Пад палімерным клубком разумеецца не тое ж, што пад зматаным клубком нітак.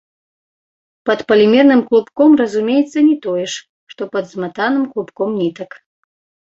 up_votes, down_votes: 2, 0